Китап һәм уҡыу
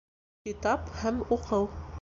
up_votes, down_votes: 2, 0